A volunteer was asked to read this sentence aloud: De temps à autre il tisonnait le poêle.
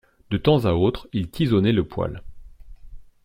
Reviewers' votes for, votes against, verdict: 2, 0, accepted